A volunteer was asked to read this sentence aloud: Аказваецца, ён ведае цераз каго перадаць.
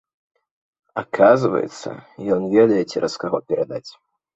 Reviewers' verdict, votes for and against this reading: accepted, 2, 0